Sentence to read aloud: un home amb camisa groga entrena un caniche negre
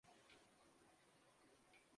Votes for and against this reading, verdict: 0, 2, rejected